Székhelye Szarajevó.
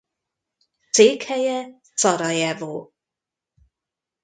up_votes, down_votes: 1, 2